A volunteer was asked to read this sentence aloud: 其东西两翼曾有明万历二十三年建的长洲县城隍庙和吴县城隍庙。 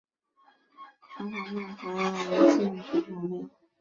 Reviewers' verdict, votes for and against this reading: rejected, 0, 6